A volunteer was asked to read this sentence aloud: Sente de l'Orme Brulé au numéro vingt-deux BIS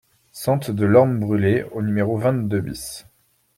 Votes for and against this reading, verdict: 2, 0, accepted